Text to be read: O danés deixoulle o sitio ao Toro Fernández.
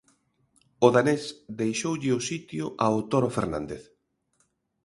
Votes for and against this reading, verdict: 2, 0, accepted